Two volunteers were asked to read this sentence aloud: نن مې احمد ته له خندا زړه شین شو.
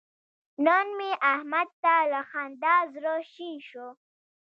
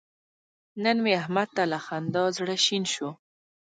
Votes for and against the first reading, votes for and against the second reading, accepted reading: 1, 2, 2, 1, second